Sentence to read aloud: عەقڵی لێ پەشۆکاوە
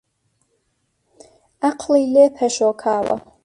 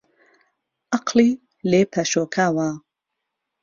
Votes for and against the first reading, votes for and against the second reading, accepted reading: 1, 2, 2, 0, second